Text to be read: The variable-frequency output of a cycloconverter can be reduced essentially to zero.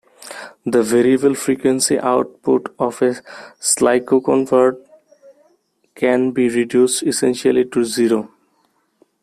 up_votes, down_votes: 1, 2